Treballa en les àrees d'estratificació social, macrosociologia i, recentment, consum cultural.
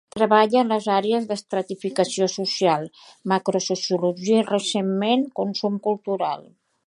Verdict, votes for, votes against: accepted, 2, 1